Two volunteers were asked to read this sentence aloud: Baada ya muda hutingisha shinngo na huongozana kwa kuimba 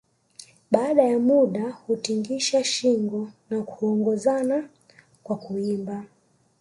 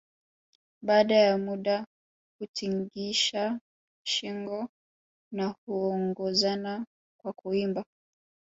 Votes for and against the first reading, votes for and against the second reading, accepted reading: 1, 2, 2, 0, second